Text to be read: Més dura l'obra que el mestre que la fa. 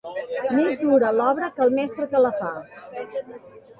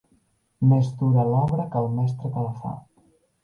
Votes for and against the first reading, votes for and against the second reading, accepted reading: 0, 2, 2, 1, second